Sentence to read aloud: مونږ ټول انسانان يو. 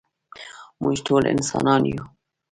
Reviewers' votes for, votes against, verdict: 3, 1, accepted